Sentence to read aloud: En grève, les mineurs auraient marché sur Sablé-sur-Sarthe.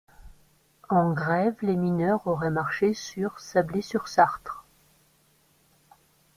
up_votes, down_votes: 2, 0